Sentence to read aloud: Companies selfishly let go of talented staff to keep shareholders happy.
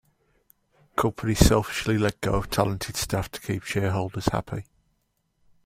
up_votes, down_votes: 2, 1